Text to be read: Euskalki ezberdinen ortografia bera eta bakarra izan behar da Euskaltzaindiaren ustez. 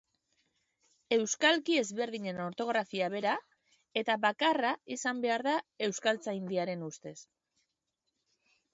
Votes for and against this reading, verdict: 0, 2, rejected